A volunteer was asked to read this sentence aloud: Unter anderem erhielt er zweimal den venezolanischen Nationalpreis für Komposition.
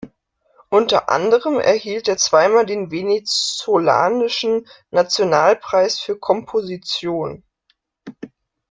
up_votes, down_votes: 0, 2